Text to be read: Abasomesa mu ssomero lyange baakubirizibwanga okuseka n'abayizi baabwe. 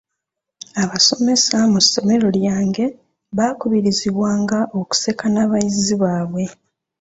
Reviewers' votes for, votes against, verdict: 2, 0, accepted